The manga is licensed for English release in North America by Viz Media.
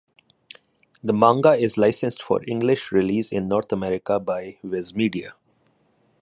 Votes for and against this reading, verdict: 2, 0, accepted